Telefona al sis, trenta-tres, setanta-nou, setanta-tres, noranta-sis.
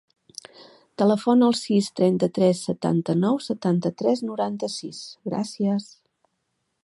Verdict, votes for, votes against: rejected, 1, 2